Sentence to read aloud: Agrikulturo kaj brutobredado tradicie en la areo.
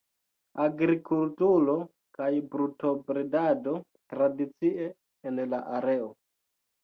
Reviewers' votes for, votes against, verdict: 2, 0, accepted